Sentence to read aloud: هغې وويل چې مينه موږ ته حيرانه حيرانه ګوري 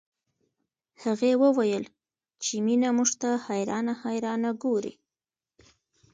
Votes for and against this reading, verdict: 2, 0, accepted